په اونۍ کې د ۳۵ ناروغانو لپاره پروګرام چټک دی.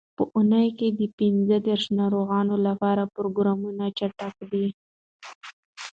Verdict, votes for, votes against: rejected, 0, 2